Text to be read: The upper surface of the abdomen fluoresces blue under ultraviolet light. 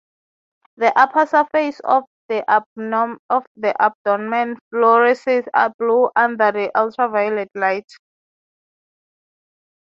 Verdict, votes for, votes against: rejected, 0, 6